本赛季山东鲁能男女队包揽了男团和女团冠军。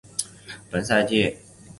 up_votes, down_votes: 0, 3